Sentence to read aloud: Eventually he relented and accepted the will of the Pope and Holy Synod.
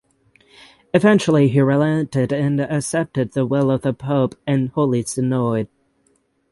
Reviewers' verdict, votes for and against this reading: accepted, 6, 0